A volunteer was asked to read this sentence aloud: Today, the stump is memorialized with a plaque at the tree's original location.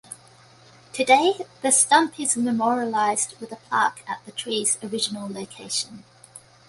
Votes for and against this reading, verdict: 2, 0, accepted